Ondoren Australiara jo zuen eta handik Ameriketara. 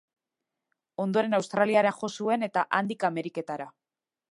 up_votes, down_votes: 2, 0